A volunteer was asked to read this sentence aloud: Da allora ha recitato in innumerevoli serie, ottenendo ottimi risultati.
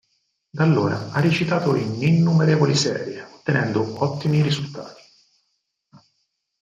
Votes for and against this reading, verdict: 2, 4, rejected